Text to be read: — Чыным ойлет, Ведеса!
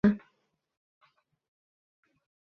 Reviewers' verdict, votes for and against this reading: rejected, 0, 2